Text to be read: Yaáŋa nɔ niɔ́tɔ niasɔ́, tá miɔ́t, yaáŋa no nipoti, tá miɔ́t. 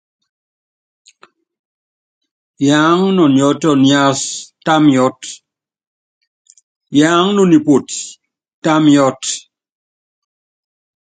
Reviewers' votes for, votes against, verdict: 2, 0, accepted